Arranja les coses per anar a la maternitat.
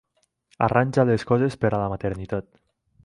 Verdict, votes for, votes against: rejected, 0, 4